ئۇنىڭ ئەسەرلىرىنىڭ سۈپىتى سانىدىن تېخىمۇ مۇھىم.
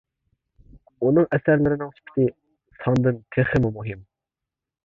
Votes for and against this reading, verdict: 3, 0, accepted